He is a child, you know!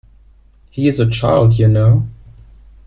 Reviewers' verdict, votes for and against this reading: accepted, 2, 0